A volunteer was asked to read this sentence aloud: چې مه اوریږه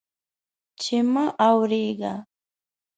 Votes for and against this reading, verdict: 0, 2, rejected